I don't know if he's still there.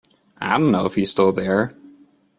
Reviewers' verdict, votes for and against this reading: accepted, 2, 1